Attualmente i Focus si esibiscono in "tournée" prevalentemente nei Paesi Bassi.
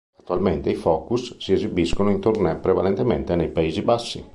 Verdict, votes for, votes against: accepted, 2, 0